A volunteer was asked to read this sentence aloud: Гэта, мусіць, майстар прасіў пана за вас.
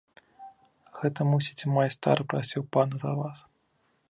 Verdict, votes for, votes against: rejected, 1, 2